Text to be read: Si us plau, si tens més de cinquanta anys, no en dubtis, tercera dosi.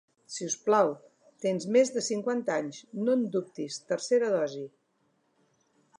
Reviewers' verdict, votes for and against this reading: rejected, 0, 2